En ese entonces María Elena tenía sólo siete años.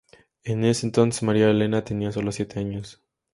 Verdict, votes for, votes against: accepted, 4, 0